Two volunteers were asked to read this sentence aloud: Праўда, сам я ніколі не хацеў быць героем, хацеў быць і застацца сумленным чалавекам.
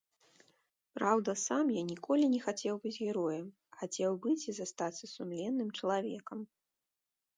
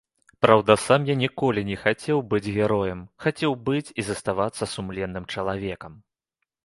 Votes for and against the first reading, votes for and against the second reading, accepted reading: 2, 0, 0, 2, first